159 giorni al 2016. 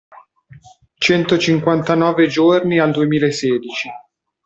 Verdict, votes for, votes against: rejected, 0, 2